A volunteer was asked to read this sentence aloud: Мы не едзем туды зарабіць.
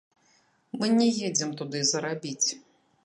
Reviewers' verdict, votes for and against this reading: rejected, 0, 2